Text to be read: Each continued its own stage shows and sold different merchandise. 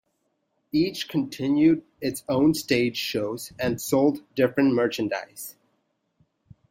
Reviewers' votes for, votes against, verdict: 2, 0, accepted